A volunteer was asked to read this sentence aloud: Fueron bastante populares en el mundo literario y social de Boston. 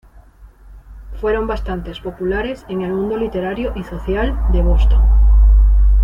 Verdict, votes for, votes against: rejected, 1, 2